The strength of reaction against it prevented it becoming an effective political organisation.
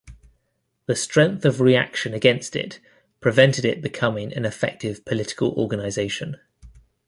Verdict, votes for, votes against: accepted, 2, 0